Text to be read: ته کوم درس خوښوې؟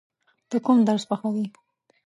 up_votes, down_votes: 10, 0